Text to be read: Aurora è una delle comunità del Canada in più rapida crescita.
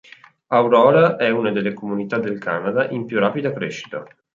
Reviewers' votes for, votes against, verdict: 2, 0, accepted